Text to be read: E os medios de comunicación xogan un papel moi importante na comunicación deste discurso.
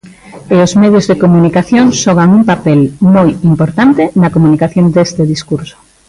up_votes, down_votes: 2, 0